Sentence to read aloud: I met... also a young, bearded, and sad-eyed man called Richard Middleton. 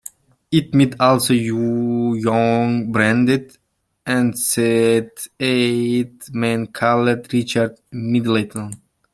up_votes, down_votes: 0, 2